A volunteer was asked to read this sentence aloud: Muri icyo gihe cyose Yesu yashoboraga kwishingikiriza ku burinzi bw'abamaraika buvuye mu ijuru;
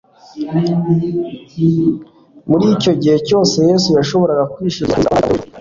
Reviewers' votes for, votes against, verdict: 0, 2, rejected